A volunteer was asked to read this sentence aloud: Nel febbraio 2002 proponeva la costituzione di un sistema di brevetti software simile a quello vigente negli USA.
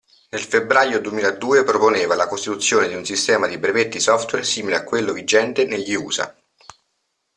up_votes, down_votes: 0, 2